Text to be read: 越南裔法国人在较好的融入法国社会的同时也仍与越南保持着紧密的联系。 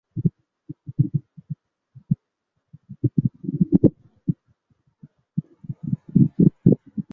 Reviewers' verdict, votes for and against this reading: rejected, 2, 4